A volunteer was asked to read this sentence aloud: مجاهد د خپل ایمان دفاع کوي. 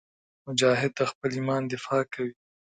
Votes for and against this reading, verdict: 2, 0, accepted